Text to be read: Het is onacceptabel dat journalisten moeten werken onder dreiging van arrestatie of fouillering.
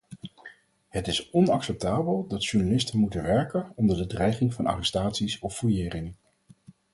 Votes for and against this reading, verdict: 0, 4, rejected